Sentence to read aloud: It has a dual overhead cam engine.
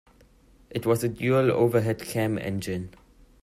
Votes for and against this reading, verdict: 0, 2, rejected